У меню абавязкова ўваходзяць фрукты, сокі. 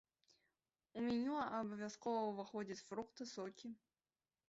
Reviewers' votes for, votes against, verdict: 1, 2, rejected